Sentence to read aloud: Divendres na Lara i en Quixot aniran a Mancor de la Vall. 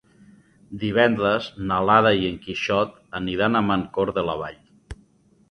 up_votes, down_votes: 2, 0